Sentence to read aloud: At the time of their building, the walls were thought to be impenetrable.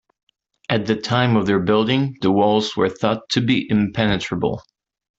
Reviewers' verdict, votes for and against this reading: accepted, 2, 0